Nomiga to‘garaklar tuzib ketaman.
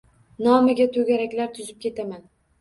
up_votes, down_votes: 2, 0